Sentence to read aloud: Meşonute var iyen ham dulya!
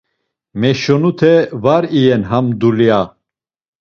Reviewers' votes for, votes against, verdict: 2, 0, accepted